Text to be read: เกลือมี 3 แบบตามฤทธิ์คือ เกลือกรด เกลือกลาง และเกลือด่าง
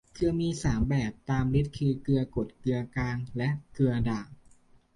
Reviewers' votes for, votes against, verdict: 0, 2, rejected